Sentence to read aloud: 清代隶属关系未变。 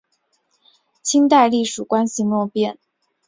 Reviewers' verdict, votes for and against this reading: accepted, 2, 1